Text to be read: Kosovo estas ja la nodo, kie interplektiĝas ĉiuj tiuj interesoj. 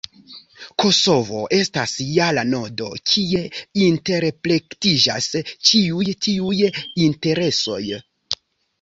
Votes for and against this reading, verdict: 2, 0, accepted